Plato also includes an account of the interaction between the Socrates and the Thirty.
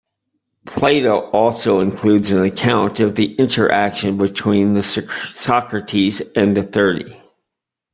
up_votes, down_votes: 1, 2